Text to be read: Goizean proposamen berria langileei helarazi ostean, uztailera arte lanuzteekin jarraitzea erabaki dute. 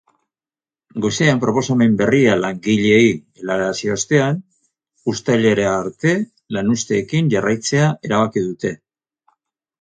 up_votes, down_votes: 0, 2